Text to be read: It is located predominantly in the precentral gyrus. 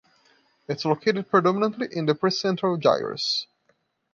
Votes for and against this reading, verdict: 1, 2, rejected